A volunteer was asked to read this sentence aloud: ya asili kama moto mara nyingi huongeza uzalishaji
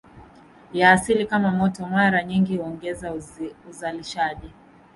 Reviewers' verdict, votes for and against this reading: rejected, 1, 2